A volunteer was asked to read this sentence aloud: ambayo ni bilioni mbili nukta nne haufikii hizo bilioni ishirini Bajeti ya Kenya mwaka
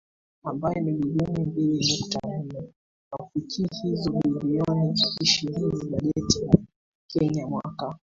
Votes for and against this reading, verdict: 1, 2, rejected